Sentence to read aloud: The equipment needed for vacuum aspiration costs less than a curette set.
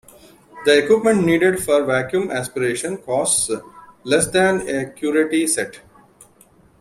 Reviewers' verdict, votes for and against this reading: rejected, 1, 2